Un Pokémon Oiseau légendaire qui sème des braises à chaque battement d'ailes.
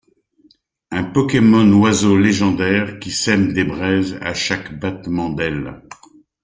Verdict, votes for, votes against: accepted, 2, 0